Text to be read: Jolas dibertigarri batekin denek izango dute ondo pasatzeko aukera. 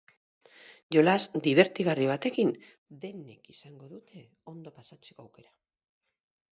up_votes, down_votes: 0, 4